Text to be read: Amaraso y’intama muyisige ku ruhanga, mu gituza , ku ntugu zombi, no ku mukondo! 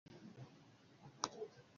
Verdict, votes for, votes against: rejected, 0, 2